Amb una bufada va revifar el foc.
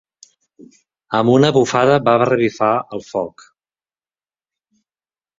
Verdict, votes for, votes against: accepted, 4, 1